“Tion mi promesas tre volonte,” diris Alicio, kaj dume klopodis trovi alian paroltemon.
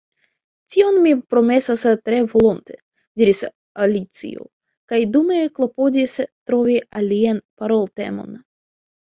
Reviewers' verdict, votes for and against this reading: accepted, 2, 1